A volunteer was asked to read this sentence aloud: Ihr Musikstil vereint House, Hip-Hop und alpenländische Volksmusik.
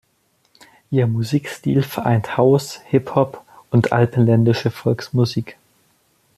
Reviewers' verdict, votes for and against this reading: accepted, 2, 0